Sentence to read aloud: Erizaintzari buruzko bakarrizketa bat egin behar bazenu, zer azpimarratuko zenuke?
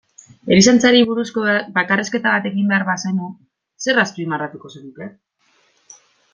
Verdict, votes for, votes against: rejected, 0, 2